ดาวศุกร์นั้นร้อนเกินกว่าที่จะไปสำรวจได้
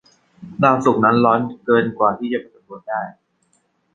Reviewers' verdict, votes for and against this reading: rejected, 1, 2